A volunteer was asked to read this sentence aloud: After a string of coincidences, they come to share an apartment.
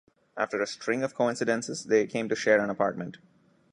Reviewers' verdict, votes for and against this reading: accepted, 2, 1